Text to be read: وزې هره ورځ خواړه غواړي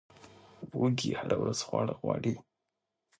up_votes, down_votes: 4, 2